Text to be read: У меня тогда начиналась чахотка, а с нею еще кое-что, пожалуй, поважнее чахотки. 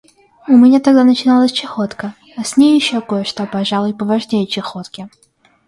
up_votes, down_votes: 0, 2